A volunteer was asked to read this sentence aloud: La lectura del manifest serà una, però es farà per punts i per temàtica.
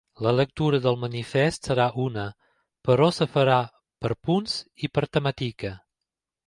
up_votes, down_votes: 1, 2